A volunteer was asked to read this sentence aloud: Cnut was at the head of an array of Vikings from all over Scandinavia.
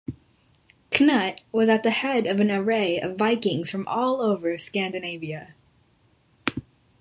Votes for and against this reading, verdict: 2, 0, accepted